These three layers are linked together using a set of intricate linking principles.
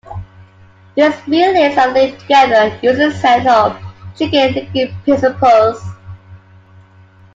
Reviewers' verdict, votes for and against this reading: rejected, 1, 2